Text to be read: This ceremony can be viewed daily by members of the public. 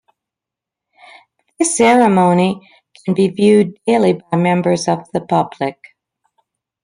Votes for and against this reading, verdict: 2, 0, accepted